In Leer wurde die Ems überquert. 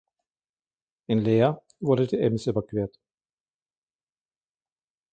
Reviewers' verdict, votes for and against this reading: accepted, 2, 0